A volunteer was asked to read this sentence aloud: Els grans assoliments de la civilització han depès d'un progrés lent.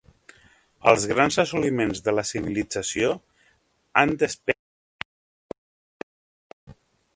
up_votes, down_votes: 0, 2